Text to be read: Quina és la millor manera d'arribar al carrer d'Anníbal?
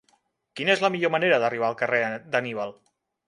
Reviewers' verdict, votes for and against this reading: rejected, 1, 2